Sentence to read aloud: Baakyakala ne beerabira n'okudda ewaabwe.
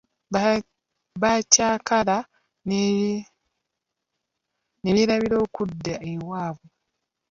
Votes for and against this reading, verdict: 1, 2, rejected